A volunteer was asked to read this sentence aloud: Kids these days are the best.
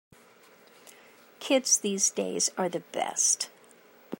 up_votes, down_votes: 2, 0